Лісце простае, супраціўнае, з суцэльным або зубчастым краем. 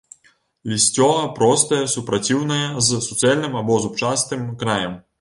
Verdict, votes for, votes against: rejected, 0, 2